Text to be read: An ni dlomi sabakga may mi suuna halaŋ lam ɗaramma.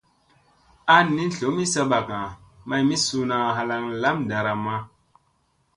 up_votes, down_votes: 2, 0